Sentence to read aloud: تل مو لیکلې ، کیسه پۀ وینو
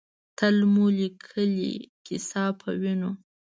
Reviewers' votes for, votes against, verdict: 2, 0, accepted